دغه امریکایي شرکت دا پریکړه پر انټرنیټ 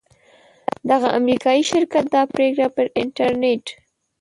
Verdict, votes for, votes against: accepted, 2, 0